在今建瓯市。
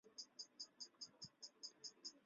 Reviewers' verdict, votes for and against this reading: rejected, 1, 4